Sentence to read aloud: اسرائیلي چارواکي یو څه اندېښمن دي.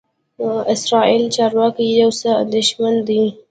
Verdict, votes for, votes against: rejected, 1, 2